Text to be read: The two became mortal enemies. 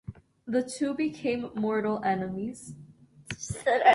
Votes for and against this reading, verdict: 1, 2, rejected